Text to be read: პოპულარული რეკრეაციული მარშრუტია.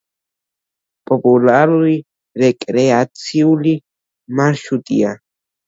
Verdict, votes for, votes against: accepted, 2, 1